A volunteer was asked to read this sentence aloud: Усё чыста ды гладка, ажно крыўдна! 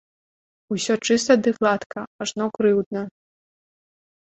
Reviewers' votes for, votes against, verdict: 2, 0, accepted